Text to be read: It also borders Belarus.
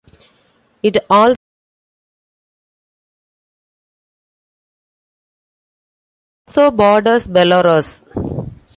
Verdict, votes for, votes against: rejected, 0, 2